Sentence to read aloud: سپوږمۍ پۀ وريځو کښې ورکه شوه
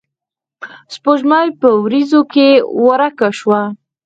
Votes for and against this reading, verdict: 0, 4, rejected